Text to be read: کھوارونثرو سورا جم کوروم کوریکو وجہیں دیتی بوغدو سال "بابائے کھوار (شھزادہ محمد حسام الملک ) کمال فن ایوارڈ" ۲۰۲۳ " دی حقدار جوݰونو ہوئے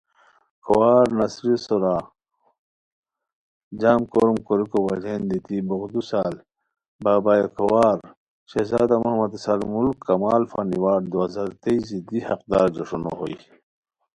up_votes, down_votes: 0, 2